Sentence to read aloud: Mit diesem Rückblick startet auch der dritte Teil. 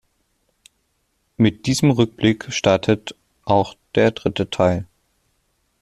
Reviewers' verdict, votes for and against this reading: accepted, 2, 0